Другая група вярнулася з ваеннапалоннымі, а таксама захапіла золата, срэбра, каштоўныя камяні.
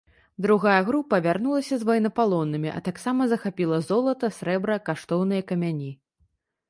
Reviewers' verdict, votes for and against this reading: accepted, 2, 0